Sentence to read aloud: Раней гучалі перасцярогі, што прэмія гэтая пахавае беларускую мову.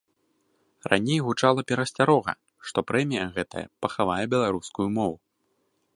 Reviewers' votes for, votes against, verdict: 1, 2, rejected